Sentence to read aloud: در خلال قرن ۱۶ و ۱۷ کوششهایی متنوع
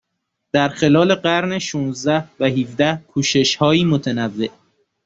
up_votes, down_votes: 0, 2